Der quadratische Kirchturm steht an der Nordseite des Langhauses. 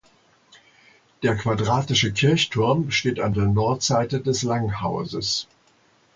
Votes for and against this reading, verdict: 1, 2, rejected